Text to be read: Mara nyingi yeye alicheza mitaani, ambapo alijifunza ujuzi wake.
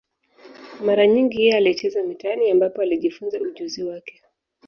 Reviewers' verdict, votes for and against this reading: accepted, 2, 0